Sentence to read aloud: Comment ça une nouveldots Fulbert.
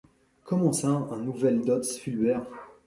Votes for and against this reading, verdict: 2, 0, accepted